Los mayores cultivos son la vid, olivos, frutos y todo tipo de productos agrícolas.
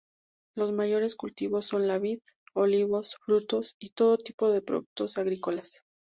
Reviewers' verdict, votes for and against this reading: accepted, 4, 0